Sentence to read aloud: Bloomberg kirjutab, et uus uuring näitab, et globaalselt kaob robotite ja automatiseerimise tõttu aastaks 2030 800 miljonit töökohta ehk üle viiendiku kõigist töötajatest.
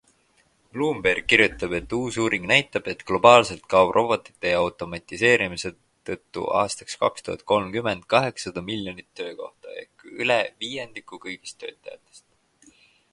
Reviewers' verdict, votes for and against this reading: rejected, 0, 2